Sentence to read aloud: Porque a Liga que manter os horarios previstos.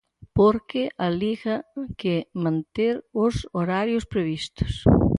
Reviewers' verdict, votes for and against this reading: accepted, 4, 0